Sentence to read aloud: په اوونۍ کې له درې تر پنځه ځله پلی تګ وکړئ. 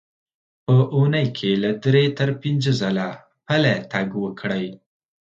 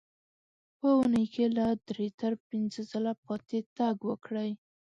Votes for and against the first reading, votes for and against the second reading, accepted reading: 2, 0, 2, 3, first